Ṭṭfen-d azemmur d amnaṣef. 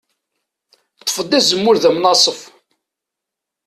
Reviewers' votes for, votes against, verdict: 0, 2, rejected